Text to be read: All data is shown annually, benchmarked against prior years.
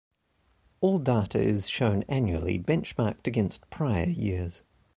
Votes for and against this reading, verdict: 2, 1, accepted